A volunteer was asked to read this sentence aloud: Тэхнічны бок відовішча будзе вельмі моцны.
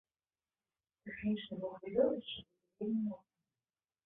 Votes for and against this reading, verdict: 1, 2, rejected